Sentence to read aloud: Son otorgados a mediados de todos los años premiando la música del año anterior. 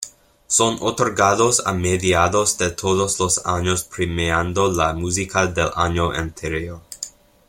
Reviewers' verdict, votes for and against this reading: accepted, 2, 0